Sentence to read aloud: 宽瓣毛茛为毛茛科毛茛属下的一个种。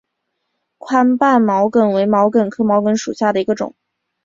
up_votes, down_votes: 2, 0